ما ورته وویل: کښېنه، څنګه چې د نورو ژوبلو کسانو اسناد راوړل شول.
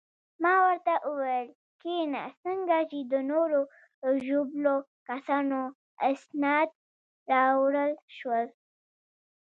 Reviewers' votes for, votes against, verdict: 1, 2, rejected